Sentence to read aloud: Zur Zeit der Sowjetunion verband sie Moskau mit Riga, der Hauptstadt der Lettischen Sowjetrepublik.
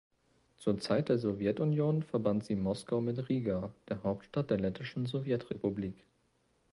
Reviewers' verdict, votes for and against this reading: accepted, 2, 0